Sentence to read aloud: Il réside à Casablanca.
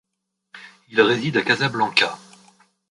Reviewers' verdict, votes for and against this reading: accepted, 2, 1